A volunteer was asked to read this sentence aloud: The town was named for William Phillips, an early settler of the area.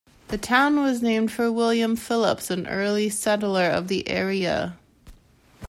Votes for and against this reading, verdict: 2, 0, accepted